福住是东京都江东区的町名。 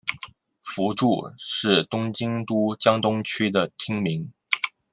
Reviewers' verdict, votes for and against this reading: accepted, 2, 0